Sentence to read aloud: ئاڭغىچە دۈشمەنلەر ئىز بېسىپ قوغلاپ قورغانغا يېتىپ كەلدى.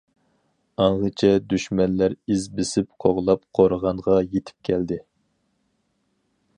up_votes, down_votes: 4, 0